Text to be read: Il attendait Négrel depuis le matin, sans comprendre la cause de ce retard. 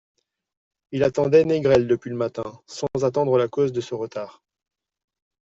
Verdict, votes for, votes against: rejected, 1, 2